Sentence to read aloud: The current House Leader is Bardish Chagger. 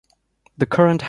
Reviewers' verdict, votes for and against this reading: rejected, 0, 2